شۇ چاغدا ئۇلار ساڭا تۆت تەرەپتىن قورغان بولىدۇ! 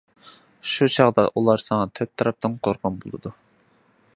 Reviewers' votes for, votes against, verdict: 2, 0, accepted